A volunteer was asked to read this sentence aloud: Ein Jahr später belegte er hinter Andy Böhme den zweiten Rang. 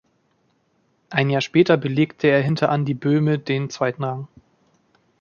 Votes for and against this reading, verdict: 4, 0, accepted